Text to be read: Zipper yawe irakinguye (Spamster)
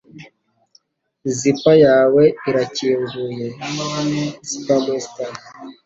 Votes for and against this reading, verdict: 2, 0, accepted